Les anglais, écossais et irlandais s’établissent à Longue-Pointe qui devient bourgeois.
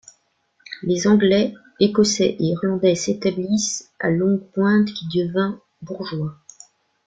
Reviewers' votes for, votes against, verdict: 0, 2, rejected